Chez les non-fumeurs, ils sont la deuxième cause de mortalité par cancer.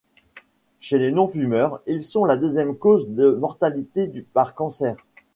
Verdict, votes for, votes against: rejected, 1, 2